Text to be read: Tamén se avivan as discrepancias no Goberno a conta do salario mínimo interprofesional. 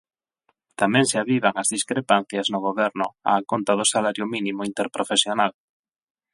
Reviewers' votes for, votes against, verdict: 8, 0, accepted